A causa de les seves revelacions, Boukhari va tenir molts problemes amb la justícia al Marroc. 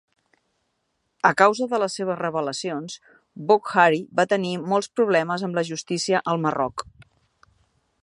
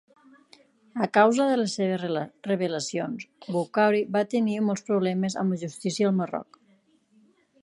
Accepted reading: first